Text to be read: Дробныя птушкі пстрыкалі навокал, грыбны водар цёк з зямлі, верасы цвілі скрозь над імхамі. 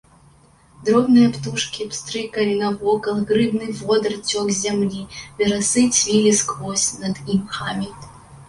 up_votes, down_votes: 2, 0